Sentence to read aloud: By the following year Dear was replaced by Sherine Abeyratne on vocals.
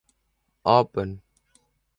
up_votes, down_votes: 0, 2